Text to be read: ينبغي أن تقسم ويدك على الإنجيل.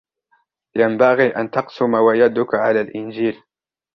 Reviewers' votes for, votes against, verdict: 1, 2, rejected